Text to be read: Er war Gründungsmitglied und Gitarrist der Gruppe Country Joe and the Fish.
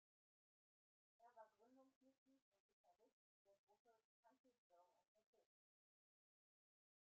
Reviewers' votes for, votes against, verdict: 0, 2, rejected